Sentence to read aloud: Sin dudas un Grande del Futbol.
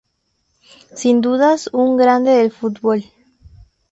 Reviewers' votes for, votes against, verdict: 2, 0, accepted